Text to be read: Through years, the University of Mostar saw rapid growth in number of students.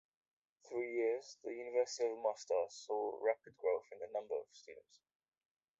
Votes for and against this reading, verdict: 2, 1, accepted